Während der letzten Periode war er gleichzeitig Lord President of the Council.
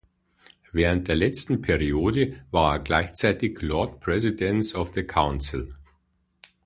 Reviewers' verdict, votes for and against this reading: rejected, 0, 2